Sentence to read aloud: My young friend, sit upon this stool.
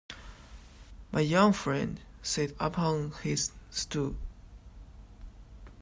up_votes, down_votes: 1, 2